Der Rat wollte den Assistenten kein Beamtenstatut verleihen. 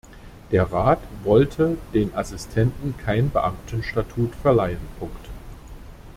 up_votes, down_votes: 0, 2